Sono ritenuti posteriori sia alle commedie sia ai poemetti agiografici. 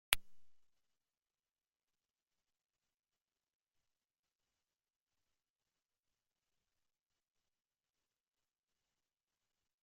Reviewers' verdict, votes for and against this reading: rejected, 0, 2